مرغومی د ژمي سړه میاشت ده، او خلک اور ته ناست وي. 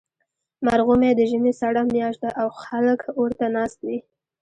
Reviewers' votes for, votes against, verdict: 1, 2, rejected